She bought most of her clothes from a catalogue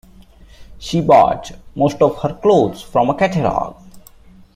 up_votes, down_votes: 2, 0